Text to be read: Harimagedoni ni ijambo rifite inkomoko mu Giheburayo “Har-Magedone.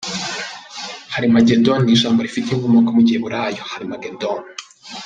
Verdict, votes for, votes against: accepted, 2, 0